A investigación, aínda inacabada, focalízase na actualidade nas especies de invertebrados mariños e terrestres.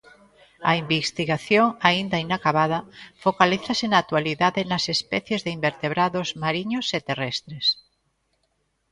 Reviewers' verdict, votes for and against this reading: rejected, 1, 2